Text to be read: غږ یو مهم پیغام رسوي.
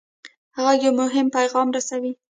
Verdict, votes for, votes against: accepted, 2, 0